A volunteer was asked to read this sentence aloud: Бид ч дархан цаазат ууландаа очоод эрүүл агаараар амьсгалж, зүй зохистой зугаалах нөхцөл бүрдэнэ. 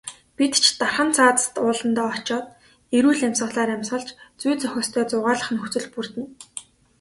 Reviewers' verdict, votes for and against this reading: rejected, 1, 2